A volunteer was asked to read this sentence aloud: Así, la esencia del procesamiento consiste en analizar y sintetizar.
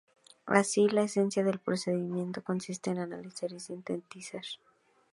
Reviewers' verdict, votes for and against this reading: accepted, 2, 0